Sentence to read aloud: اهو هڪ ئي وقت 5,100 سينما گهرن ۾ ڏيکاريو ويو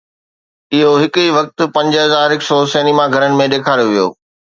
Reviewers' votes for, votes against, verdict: 0, 2, rejected